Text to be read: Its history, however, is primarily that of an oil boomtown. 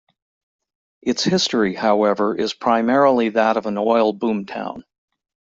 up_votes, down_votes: 2, 0